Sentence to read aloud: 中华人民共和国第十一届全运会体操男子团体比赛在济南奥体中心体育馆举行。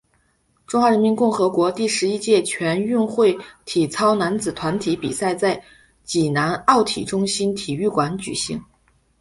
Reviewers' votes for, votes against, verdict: 2, 0, accepted